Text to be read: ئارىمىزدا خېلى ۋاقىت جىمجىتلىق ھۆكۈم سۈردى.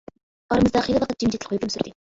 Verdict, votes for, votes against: rejected, 1, 2